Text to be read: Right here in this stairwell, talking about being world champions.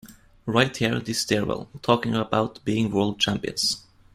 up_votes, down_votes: 2, 1